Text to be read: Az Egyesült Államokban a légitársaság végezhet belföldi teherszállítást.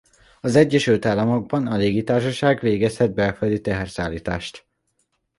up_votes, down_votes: 2, 0